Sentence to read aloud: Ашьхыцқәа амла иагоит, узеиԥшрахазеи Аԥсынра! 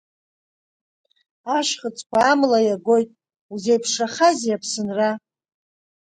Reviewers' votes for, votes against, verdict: 2, 0, accepted